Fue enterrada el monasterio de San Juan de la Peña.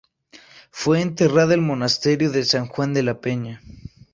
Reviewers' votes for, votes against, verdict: 0, 2, rejected